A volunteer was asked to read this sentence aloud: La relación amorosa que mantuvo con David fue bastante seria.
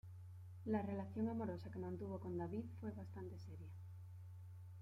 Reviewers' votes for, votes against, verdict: 1, 2, rejected